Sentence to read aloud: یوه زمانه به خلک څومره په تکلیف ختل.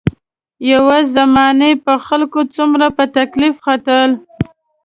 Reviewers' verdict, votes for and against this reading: rejected, 1, 2